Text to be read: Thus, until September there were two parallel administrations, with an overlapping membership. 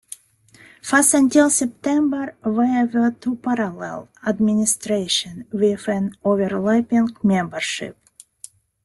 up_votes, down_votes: 2, 0